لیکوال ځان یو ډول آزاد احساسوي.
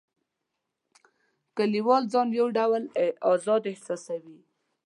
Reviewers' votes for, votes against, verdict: 0, 2, rejected